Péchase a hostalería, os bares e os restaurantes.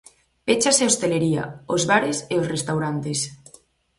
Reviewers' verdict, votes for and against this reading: rejected, 0, 4